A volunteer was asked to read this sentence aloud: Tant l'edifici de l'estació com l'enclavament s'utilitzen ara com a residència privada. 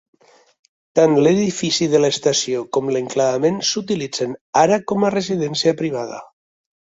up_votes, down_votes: 3, 1